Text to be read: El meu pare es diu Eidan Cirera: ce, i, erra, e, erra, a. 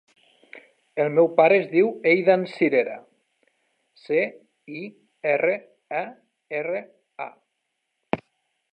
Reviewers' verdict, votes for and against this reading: rejected, 0, 2